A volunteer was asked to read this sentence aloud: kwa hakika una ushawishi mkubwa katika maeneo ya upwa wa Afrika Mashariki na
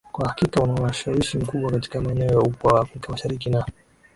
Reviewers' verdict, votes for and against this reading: rejected, 1, 2